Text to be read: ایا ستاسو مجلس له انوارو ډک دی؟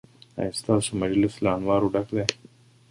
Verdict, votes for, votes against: rejected, 1, 2